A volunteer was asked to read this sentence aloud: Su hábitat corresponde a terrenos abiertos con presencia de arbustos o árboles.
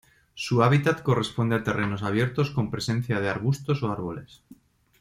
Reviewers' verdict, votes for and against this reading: accepted, 2, 0